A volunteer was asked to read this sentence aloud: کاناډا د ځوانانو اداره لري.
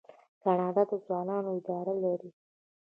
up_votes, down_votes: 2, 1